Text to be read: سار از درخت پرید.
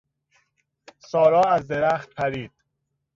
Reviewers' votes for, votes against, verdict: 0, 2, rejected